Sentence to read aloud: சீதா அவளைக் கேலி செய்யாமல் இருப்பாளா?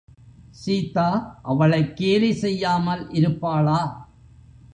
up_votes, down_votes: 2, 0